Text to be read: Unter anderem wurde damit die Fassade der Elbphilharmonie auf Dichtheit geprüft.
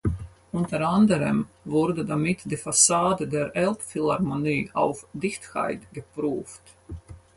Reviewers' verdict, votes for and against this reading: rejected, 2, 4